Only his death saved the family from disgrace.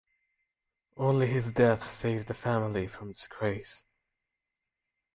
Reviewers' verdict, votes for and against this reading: accepted, 2, 1